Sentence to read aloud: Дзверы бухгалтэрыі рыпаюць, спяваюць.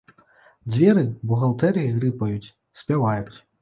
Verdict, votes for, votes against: accepted, 2, 0